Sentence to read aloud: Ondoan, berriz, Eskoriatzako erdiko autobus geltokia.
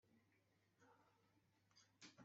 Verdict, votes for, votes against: rejected, 0, 2